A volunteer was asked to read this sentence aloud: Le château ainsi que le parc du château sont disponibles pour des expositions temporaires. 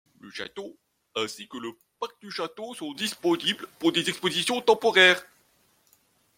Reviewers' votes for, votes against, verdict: 0, 2, rejected